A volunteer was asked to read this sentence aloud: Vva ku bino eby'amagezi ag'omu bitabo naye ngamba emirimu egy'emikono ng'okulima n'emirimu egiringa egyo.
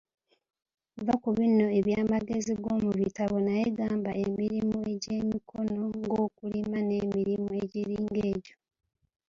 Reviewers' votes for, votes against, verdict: 2, 1, accepted